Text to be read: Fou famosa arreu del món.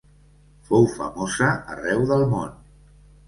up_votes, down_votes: 1, 2